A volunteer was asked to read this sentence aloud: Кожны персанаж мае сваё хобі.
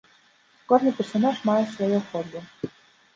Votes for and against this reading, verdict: 2, 0, accepted